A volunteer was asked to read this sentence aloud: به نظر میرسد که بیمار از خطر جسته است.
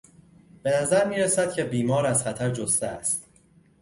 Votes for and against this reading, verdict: 2, 0, accepted